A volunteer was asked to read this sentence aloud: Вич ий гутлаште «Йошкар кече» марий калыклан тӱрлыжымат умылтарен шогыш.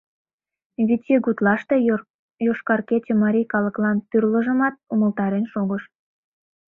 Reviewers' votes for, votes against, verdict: 0, 2, rejected